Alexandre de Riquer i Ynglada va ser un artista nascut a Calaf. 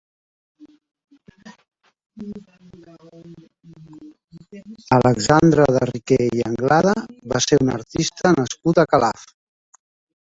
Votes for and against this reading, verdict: 0, 2, rejected